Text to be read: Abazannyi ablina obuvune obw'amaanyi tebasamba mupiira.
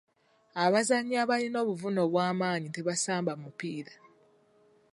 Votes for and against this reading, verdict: 0, 2, rejected